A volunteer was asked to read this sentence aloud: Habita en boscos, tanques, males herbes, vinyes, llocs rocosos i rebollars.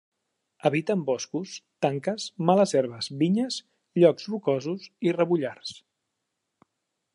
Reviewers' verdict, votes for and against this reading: accepted, 2, 0